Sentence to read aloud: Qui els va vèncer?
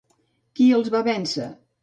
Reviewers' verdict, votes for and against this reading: accepted, 3, 0